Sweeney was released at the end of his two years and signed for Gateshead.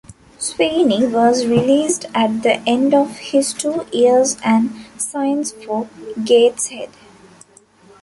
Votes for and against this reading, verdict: 1, 2, rejected